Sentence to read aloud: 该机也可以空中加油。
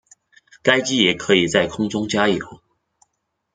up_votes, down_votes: 1, 2